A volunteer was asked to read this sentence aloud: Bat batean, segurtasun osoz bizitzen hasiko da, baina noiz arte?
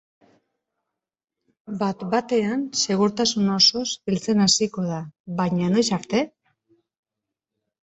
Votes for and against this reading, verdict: 0, 2, rejected